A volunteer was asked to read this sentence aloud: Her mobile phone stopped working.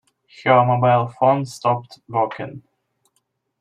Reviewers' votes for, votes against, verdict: 2, 1, accepted